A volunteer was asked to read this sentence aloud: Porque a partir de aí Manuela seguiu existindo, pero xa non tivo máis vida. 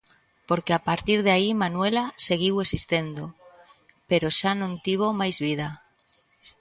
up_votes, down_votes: 1, 2